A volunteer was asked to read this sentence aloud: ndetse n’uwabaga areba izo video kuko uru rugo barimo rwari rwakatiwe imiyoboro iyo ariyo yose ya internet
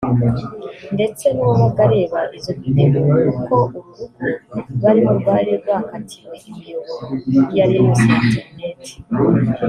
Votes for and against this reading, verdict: 0, 2, rejected